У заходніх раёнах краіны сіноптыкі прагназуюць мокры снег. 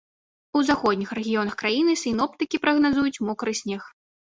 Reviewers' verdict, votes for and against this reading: rejected, 2, 3